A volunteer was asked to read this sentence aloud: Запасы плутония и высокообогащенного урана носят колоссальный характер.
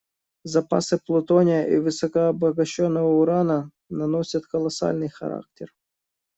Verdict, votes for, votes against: rejected, 1, 2